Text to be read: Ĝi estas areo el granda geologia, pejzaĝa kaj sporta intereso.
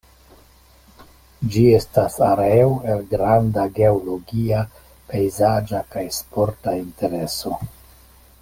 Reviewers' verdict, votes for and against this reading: accepted, 2, 0